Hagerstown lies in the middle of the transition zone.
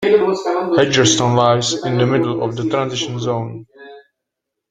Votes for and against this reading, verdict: 0, 2, rejected